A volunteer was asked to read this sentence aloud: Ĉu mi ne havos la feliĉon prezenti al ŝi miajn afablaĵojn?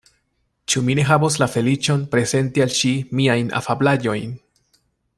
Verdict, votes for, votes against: accepted, 2, 0